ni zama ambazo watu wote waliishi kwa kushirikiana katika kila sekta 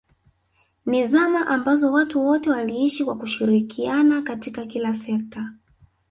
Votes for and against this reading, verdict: 2, 0, accepted